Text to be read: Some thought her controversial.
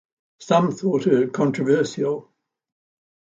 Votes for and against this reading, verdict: 2, 0, accepted